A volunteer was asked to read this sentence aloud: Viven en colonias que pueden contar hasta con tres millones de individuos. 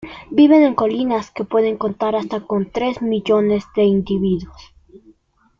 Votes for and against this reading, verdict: 1, 2, rejected